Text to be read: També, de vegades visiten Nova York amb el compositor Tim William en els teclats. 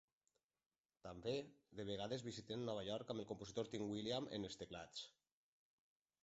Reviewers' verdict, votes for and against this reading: accepted, 3, 1